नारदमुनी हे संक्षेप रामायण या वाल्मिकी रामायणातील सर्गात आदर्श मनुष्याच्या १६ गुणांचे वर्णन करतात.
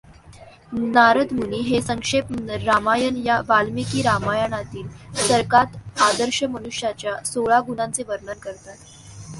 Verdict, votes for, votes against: rejected, 0, 2